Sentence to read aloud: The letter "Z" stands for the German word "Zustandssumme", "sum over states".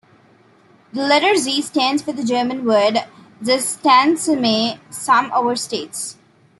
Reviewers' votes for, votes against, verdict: 2, 1, accepted